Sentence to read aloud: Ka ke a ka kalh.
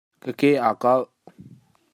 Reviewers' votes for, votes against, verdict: 1, 2, rejected